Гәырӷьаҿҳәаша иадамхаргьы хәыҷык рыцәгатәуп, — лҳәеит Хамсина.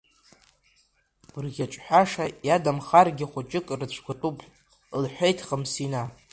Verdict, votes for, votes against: rejected, 1, 2